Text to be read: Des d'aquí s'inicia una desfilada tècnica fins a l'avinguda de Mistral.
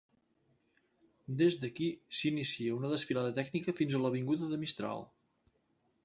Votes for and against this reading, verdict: 2, 0, accepted